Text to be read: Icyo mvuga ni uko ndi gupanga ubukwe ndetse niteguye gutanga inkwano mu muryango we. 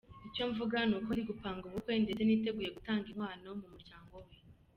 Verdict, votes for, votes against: rejected, 1, 2